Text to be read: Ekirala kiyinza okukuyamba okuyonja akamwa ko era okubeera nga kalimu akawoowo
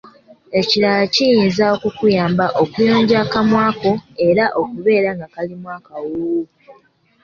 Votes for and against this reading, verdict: 2, 0, accepted